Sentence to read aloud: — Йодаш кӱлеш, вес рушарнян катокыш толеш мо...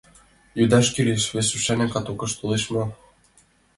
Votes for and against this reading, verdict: 3, 0, accepted